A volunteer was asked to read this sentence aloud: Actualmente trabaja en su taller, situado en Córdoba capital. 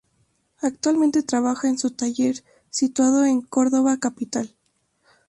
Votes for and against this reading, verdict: 4, 0, accepted